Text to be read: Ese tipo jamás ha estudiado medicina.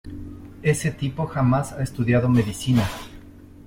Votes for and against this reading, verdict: 2, 0, accepted